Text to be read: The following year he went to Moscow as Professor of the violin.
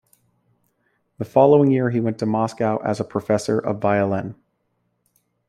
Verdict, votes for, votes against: rejected, 1, 2